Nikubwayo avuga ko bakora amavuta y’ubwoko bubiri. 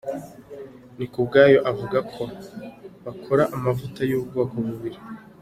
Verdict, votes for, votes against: accepted, 2, 0